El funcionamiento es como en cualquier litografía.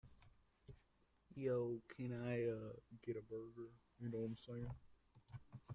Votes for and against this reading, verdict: 0, 2, rejected